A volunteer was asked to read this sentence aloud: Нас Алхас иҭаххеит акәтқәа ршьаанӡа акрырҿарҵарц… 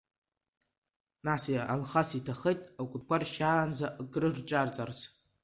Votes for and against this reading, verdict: 0, 2, rejected